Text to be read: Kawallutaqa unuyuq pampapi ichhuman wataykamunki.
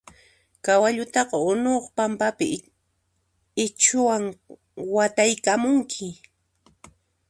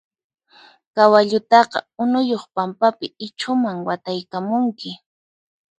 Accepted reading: second